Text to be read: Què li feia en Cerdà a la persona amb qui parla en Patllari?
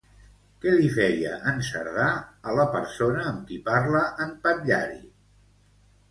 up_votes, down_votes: 2, 0